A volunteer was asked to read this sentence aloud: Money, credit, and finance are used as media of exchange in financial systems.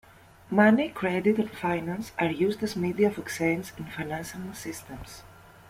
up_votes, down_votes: 1, 2